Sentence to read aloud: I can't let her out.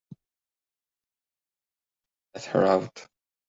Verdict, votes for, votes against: rejected, 0, 2